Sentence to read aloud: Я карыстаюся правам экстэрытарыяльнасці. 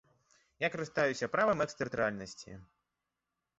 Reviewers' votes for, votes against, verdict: 0, 2, rejected